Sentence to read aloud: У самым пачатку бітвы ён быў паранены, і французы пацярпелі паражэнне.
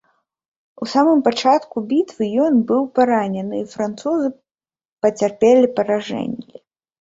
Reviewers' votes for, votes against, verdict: 1, 2, rejected